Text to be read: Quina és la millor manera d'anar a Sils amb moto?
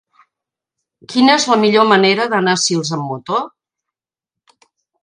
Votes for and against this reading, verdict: 3, 0, accepted